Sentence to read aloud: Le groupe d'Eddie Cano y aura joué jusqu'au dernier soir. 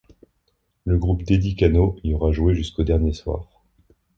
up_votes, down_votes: 2, 0